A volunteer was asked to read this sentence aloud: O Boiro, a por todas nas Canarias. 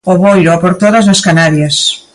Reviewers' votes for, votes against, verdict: 2, 1, accepted